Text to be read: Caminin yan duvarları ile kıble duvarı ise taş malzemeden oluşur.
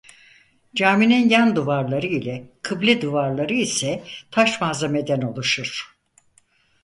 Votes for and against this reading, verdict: 0, 4, rejected